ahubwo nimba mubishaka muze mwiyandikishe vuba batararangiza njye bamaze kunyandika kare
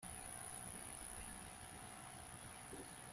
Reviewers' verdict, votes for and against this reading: rejected, 1, 2